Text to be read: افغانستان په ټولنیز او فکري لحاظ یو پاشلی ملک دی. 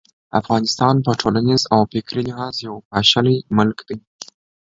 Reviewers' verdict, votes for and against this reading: accepted, 2, 1